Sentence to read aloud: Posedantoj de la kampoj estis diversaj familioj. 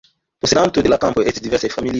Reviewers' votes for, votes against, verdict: 0, 2, rejected